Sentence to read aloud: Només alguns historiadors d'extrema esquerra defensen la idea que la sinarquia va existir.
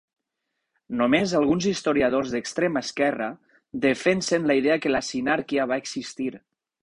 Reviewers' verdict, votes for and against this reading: rejected, 2, 4